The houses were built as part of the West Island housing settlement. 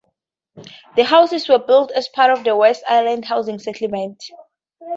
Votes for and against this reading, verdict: 2, 0, accepted